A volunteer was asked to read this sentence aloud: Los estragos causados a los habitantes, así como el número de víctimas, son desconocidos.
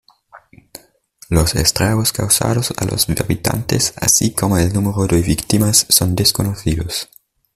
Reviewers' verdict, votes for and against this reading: accepted, 2, 0